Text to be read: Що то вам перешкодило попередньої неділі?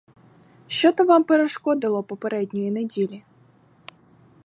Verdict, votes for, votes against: accepted, 4, 0